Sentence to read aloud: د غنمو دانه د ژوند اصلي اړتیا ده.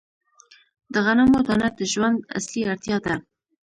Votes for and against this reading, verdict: 2, 1, accepted